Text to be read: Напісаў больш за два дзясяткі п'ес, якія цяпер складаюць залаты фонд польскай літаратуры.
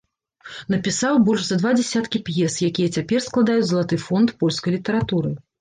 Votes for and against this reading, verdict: 2, 0, accepted